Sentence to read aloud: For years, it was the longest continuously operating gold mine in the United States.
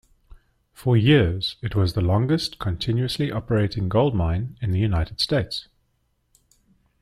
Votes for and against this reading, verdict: 2, 0, accepted